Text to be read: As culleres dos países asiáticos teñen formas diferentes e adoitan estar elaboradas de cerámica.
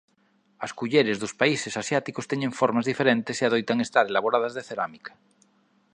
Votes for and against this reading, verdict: 3, 0, accepted